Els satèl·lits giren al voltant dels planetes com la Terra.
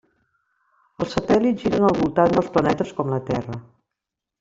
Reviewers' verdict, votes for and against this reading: accepted, 3, 1